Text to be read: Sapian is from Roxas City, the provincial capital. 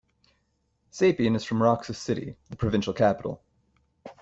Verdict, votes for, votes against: accepted, 2, 0